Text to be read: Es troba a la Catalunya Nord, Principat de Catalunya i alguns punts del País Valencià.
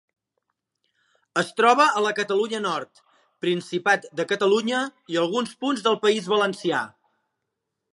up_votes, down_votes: 3, 0